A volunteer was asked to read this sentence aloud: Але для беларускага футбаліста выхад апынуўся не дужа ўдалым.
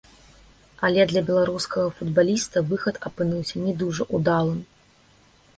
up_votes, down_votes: 2, 1